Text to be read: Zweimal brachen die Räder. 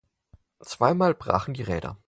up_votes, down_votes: 6, 0